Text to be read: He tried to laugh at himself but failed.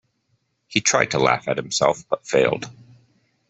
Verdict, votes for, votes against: accepted, 2, 0